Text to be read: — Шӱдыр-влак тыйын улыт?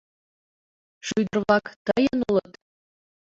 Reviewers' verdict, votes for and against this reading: accepted, 2, 0